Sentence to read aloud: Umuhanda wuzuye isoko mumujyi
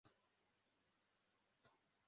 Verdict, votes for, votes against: rejected, 0, 2